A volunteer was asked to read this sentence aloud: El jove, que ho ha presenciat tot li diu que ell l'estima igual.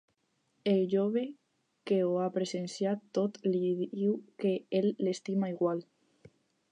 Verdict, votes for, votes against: rejected, 2, 4